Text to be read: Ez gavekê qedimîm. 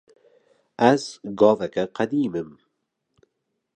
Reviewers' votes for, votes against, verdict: 2, 1, accepted